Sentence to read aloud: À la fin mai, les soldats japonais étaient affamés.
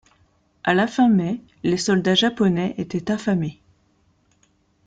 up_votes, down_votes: 2, 0